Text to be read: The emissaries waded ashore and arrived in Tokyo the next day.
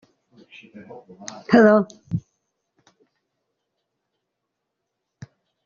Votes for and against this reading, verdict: 0, 2, rejected